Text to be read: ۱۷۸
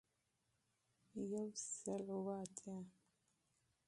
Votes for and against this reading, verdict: 0, 2, rejected